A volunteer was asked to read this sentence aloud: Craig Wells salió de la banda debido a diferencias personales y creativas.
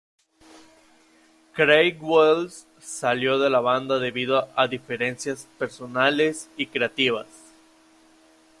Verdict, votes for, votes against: accepted, 2, 0